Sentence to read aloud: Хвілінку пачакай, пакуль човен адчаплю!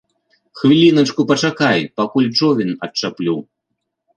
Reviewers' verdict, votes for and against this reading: rejected, 1, 2